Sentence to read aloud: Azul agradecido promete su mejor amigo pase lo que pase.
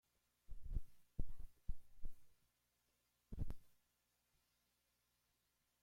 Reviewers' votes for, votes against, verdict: 0, 2, rejected